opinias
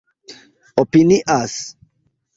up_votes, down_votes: 2, 1